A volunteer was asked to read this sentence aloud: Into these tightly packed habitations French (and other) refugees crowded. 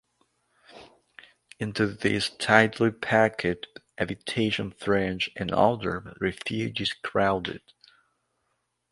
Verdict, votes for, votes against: rejected, 0, 2